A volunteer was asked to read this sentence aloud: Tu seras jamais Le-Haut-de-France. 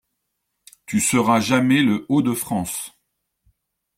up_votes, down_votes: 2, 0